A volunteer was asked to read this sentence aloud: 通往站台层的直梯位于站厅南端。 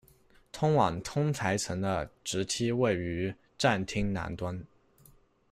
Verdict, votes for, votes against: rejected, 0, 2